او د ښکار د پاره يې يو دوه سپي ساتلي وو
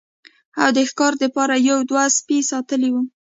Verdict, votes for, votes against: accepted, 2, 0